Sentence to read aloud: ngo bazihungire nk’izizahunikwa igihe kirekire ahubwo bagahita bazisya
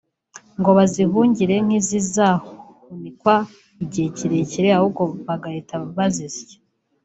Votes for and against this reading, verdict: 1, 2, rejected